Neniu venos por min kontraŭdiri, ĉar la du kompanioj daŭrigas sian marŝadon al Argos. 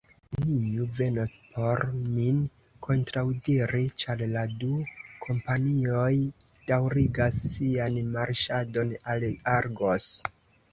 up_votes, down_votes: 2, 0